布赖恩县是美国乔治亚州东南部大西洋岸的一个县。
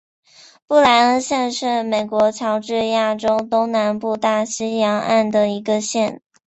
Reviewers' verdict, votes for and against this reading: accepted, 2, 1